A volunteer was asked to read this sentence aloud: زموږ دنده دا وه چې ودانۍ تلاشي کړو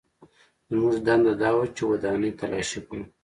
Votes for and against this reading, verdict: 2, 0, accepted